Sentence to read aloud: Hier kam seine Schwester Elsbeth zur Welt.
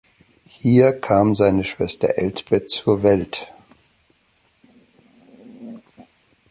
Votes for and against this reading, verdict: 2, 1, accepted